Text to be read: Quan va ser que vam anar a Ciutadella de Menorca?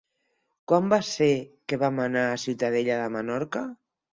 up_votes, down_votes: 6, 0